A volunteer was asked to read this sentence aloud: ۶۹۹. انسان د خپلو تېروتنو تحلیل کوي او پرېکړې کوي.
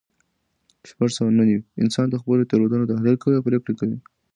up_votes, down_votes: 0, 2